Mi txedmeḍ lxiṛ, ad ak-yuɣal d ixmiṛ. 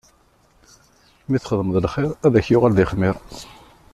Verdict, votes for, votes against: accepted, 2, 0